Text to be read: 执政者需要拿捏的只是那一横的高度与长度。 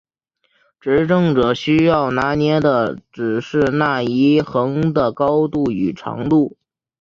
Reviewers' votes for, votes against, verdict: 3, 0, accepted